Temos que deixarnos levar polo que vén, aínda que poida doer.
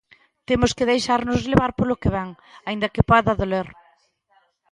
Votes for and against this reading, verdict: 0, 2, rejected